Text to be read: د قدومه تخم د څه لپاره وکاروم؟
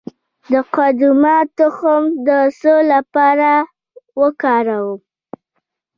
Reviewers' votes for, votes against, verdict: 1, 2, rejected